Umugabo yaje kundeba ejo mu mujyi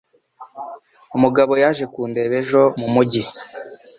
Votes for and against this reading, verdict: 2, 0, accepted